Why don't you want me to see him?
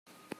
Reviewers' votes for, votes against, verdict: 0, 2, rejected